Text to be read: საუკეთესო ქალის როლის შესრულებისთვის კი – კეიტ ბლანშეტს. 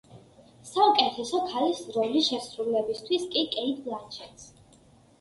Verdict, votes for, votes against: accepted, 2, 0